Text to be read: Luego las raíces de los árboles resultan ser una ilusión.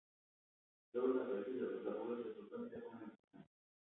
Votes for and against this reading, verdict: 0, 4, rejected